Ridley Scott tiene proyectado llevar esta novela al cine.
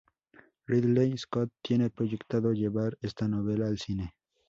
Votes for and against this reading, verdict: 2, 0, accepted